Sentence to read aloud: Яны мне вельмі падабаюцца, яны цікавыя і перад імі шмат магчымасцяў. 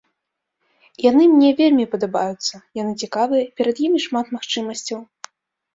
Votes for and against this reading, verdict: 2, 1, accepted